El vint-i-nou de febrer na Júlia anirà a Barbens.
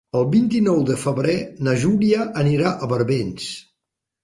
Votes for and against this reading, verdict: 3, 0, accepted